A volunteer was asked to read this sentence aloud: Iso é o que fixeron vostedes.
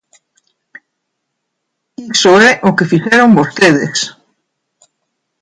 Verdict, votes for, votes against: rejected, 1, 2